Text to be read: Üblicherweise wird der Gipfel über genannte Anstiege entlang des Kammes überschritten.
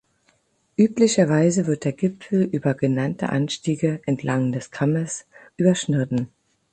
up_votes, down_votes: 0, 12